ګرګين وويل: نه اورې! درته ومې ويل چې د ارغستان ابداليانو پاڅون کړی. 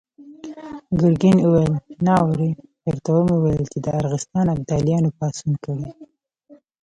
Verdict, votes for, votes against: rejected, 1, 2